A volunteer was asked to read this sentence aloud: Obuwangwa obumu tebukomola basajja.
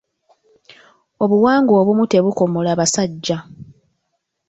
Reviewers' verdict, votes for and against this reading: accepted, 2, 0